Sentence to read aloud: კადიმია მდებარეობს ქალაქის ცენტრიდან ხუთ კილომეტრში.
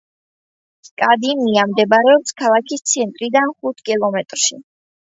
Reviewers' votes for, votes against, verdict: 2, 0, accepted